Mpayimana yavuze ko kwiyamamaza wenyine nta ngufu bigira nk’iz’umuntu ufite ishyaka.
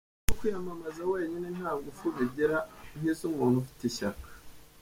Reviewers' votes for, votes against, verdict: 0, 2, rejected